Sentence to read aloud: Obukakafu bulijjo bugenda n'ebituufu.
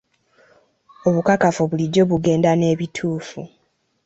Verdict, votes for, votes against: accepted, 3, 0